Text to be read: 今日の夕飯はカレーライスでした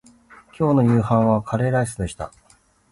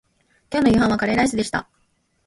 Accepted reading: first